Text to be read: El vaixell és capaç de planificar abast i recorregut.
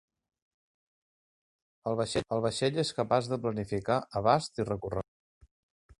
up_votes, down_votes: 0, 2